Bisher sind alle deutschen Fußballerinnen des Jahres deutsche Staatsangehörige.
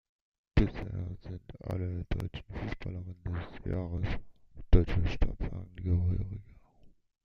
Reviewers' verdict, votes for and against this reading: rejected, 1, 2